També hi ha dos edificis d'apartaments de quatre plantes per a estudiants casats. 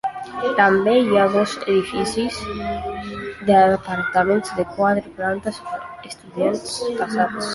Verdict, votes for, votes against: rejected, 1, 2